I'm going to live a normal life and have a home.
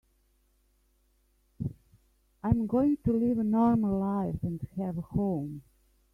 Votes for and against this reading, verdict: 0, 2, rejected